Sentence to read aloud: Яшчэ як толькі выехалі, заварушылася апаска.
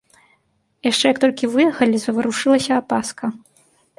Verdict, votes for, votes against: accepted, 2, 0